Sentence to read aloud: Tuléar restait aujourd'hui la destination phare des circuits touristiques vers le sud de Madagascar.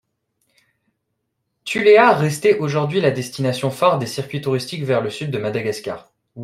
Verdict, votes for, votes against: accepted, 2, 0